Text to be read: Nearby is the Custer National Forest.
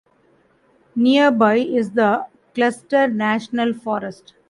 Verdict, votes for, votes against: rejected, 0, 2